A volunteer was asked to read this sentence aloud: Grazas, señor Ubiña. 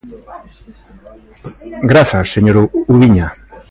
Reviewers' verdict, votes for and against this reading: rejected, 0, 2